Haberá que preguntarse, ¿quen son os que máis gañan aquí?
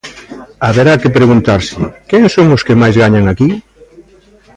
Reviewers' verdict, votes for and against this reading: rejected, 0, 2